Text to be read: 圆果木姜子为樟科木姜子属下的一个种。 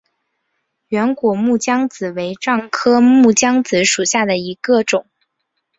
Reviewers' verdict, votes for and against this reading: accepted, 3, 0